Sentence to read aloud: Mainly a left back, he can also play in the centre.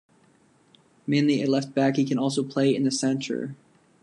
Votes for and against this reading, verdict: 2, 0, accepted